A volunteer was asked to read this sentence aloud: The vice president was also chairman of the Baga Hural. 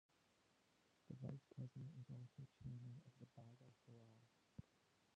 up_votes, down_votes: 0, 2